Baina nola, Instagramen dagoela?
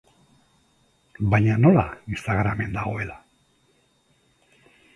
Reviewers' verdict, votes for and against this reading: accepted, 2, 0